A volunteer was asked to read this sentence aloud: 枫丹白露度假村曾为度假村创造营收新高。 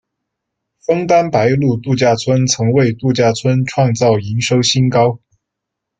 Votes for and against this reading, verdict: 2, 0, accepted